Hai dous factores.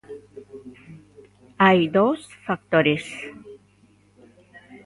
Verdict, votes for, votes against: accepted, 2, 0